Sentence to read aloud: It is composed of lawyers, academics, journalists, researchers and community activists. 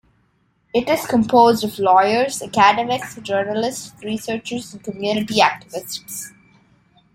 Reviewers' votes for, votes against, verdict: 1, 2, rejected